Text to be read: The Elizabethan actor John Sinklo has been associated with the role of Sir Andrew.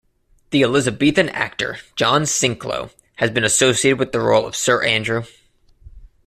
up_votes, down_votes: 2, 0